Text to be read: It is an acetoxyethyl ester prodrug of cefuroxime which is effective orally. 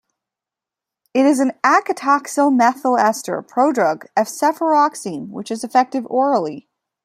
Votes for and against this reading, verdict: 1, 2, rejected